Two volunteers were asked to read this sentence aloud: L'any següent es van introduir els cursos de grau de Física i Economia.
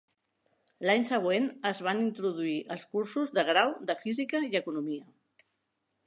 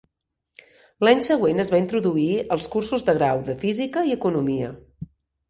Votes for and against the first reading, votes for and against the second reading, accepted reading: 4, 0, 1, 2, first